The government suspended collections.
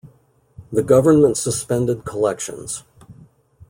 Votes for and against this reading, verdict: 2, 0, accepted